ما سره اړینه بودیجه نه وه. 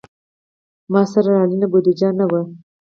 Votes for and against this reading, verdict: 4, 0, accepted